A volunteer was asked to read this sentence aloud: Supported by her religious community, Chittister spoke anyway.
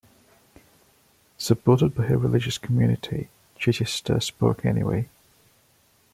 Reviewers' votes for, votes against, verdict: 2, 0, accepted